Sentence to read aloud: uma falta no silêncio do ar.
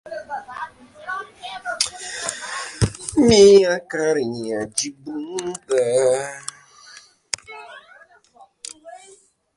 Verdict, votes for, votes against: rejected, 0, 2